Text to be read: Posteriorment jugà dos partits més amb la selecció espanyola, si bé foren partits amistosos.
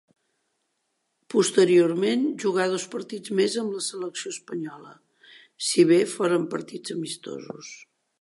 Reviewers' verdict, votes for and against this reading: accepted, 2, 0